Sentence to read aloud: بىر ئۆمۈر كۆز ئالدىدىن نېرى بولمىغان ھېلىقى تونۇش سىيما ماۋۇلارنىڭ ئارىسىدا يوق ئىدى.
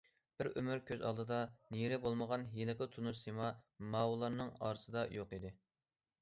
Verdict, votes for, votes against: rejected, 1, 2